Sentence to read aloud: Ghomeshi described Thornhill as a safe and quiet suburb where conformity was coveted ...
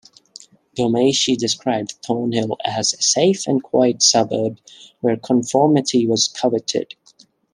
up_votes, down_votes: 2, 0